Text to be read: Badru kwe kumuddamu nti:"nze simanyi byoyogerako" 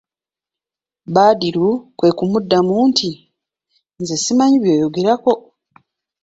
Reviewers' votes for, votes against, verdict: 2, 0, accepted